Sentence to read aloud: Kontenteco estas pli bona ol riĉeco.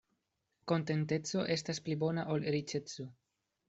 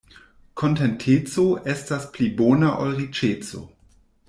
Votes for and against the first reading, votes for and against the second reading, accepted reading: 2, 0, 1, 2, first